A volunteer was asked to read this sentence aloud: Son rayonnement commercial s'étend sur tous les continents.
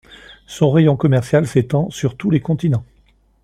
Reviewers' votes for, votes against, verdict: 1, 2, rejected